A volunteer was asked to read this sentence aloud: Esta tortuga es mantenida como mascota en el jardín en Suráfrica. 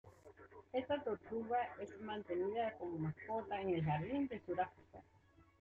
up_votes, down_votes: 0, 2